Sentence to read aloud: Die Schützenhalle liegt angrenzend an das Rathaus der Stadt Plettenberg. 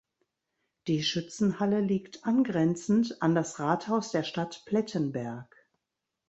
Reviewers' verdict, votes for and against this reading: accepted, 2, 0